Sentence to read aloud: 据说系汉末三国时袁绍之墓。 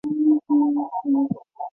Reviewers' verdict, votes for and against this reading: rejected, 1, 2